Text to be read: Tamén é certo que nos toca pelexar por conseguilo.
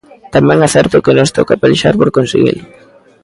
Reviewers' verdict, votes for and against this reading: rejected, 1, 2